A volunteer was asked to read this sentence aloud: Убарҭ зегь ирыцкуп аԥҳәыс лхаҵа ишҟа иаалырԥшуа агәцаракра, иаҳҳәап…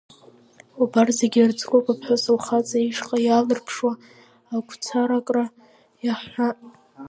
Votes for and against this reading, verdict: 0, 2, rejected